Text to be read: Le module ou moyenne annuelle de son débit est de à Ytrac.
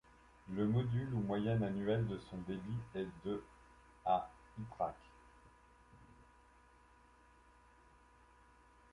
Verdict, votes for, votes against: accepted, 2, 0